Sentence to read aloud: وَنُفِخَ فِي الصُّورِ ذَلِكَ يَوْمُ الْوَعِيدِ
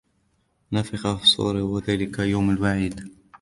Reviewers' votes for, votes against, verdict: 1, 2, rejected